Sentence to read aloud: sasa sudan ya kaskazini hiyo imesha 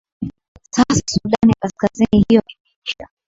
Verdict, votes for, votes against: rejected, 1, 2